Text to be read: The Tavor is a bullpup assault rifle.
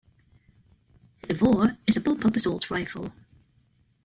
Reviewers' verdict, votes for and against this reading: rejected, 0, 2